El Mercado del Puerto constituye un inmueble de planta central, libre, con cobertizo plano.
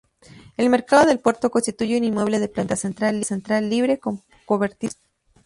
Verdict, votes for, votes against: rejected, 0, 2